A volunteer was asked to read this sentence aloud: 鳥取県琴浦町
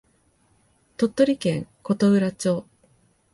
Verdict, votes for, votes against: accepted, 2, 0